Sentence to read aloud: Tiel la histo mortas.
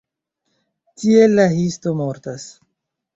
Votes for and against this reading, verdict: 1, 2, rejected